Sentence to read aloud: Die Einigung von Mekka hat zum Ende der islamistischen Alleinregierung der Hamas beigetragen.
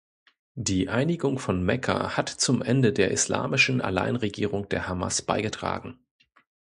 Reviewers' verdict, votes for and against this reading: rejected, 0, 2